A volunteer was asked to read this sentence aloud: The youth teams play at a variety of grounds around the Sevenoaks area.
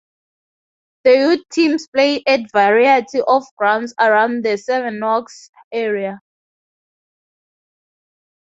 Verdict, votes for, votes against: rejected, 0, 4